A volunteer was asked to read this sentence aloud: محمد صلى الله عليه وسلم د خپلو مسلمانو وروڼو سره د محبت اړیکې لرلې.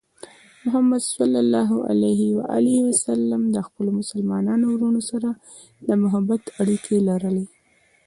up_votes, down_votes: 2, 0